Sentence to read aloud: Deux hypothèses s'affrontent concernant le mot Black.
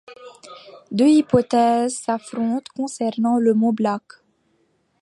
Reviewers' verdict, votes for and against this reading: accepted, 2, 1